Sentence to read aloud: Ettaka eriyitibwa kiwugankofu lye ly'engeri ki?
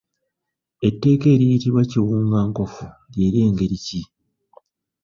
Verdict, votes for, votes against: rejected, 1, 2